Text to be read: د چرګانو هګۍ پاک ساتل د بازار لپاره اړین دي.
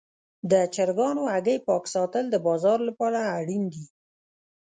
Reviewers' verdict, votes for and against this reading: rejected, 0, 2